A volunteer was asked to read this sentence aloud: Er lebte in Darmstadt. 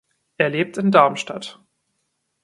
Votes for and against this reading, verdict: 1, 2, rejected